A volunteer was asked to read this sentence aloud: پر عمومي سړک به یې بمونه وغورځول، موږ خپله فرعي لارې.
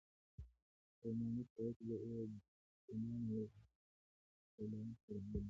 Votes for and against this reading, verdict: 0, 2, rejected